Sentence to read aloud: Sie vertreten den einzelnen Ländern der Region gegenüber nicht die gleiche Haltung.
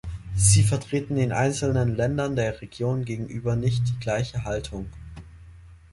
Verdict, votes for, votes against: accepted, 2, 0